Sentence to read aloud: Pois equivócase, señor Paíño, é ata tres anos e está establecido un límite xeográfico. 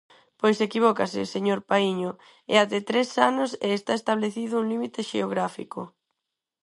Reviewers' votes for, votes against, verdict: 4, 0, accepted